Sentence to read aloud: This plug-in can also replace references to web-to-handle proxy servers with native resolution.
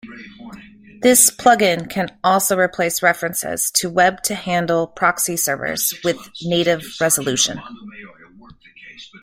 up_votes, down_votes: 2, 1